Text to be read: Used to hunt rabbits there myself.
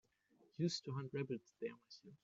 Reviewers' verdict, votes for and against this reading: rejected, 0, 3